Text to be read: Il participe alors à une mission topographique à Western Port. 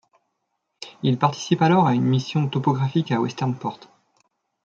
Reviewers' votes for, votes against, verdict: 2, 0, accepted